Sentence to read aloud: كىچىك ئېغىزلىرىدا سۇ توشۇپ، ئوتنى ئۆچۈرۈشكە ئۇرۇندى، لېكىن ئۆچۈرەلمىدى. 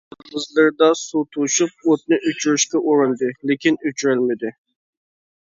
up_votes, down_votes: 0, 2